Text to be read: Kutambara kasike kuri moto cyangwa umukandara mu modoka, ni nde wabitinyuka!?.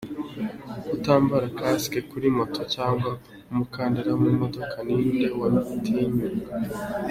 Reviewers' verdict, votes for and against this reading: accepted, 2, 0